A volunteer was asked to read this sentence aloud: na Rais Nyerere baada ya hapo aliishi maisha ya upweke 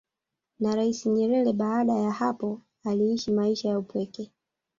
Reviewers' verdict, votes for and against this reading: rejected, 1, 2